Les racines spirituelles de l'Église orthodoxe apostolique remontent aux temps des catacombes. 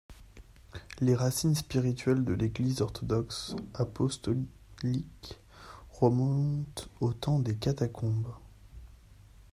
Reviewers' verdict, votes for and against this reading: rejected, 0, 2